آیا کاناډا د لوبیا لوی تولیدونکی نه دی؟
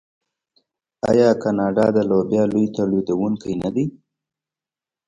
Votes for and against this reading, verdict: 2, 0, accepted